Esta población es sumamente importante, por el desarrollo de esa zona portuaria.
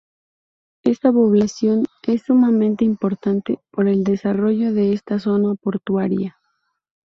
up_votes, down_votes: 0, 2